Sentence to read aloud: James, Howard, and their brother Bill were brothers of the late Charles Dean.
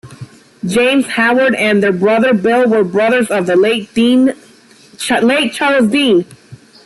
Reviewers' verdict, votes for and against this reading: rejected, 1, 2